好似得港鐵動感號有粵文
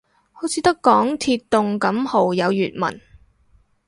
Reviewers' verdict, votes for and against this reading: accepted, 2, 0